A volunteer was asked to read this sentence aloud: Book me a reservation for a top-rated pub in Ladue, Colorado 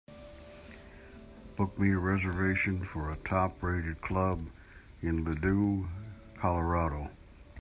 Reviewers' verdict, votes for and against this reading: rejected, 0, 2